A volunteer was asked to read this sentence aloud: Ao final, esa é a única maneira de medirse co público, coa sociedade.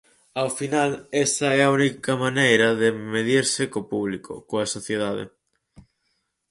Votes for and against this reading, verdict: 4, 0, accepted